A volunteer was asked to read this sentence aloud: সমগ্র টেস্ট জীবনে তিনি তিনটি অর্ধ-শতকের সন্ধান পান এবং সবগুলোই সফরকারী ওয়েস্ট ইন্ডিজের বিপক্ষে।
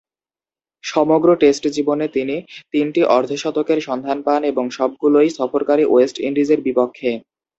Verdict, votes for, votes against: accepted, 4, 0